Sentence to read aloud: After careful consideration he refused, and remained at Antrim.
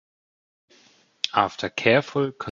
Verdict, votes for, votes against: rejected, 0, 2